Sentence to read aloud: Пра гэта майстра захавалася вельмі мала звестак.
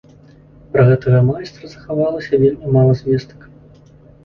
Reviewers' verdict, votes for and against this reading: rejected, 1, 2